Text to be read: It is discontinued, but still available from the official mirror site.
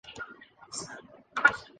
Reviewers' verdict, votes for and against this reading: rejected, 0, 2